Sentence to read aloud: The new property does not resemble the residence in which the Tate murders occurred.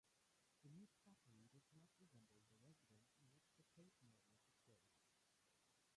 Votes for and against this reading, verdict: 0, 2, rejected